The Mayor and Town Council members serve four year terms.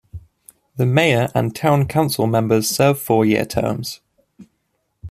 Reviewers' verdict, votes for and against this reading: accepted, 2, 0